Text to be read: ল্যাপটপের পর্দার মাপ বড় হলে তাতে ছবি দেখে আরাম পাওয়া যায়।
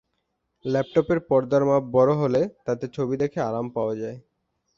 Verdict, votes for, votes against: accepted, 4, 0